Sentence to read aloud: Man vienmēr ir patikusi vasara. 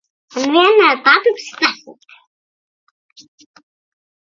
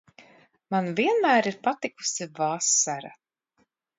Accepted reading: second